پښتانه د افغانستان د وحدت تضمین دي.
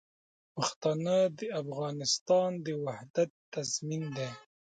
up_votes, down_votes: 0, 2